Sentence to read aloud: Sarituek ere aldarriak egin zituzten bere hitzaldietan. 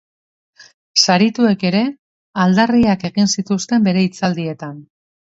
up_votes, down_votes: 3, 0